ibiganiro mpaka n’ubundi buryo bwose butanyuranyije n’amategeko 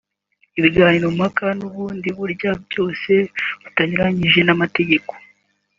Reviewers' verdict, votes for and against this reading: accepted, 2, 1